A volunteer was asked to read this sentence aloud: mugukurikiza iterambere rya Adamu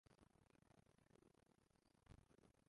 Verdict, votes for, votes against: rejected, 0, 2